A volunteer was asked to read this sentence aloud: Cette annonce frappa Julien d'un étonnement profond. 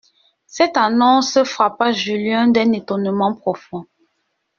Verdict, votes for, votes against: accepted, 2, 0